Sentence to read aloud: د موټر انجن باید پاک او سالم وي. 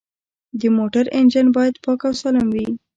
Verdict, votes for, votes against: accepted, 2, 0